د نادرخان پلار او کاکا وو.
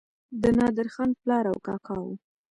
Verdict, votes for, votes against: rejected, 1, 2